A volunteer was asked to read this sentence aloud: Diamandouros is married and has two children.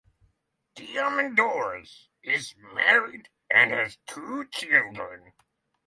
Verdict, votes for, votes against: rejected, 3, 3